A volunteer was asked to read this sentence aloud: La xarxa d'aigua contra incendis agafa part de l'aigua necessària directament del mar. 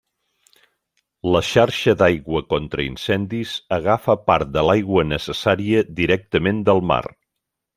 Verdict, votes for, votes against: accepted, 3, 0